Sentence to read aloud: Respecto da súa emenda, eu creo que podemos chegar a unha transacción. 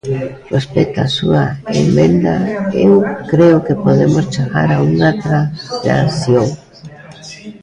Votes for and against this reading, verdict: 0, 3, rejected